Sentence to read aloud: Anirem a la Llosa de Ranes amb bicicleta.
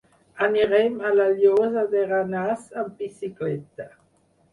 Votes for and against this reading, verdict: 2, 4, rejected